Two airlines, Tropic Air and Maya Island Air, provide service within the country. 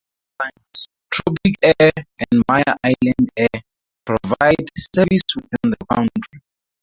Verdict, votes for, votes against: rejected, 0, 4